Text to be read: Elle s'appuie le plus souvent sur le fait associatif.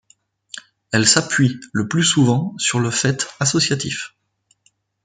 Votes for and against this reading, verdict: 2, 0, accepted